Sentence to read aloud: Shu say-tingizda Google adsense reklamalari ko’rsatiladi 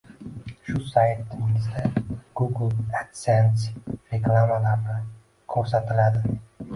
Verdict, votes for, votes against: accepted, 2, 1